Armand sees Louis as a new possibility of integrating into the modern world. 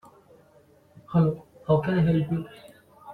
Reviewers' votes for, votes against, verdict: 0, 2, rejected